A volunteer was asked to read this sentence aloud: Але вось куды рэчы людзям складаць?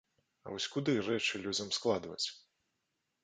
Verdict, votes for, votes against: rejected, 0, 2